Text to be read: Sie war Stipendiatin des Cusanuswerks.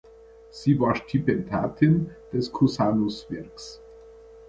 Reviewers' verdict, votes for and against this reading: accepted, 2, 1